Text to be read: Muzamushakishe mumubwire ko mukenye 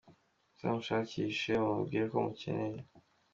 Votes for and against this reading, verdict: 2, 1, accepted